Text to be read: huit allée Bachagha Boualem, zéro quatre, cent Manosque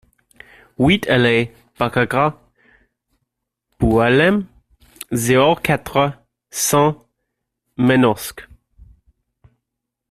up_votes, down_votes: 1, 2